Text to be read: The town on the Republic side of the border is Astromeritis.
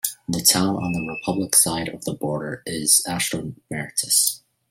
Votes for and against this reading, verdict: 2, 0, accepted